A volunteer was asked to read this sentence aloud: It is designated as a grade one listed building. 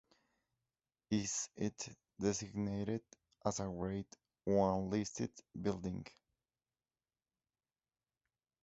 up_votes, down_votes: 3, 6